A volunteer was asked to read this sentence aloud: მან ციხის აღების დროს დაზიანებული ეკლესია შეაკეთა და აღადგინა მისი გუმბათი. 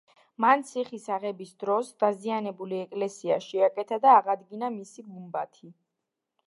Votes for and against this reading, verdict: 2, 0, accepted